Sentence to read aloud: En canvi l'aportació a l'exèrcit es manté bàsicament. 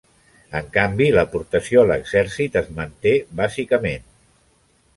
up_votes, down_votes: 3, 0